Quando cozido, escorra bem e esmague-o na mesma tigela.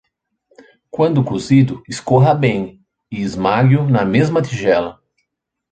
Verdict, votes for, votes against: rejected, 1, 2